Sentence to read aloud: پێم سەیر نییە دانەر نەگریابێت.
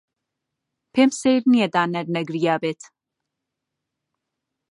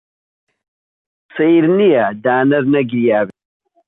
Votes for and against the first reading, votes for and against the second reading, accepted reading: 2, 0, 1, 2, first